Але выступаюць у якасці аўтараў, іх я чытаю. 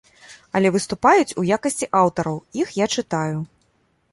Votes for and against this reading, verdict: 2, 0, accepted